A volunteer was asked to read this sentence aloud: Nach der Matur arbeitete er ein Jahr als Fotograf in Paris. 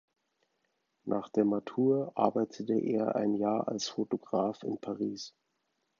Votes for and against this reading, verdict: 2, 0, accepted